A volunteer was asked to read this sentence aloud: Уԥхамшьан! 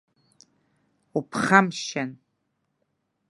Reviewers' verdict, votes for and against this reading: rejected, 0, 2